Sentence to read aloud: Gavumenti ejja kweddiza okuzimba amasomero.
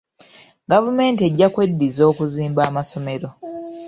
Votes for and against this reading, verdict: 2, 0, accepted